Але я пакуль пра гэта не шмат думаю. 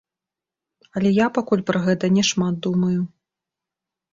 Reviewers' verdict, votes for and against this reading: rejected, 1, 2